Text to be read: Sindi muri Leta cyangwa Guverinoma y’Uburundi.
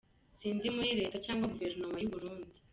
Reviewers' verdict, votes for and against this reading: accepted, 2, 1